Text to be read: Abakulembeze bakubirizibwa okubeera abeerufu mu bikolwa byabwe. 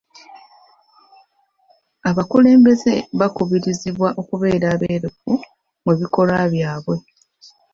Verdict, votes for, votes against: accepted, 2, 0